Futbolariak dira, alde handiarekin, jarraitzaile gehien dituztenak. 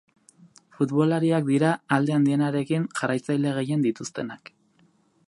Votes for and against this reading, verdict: 2, 2, rejected